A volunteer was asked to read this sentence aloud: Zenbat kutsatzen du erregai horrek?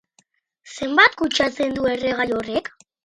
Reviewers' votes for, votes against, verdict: 2, 2, rejected